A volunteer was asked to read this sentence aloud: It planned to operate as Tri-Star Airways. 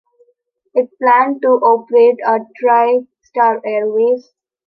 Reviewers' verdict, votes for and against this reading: accepted, 2, 1